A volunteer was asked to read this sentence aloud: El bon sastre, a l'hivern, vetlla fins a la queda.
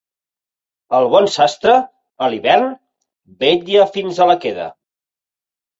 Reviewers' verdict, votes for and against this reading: accepted, 4, 0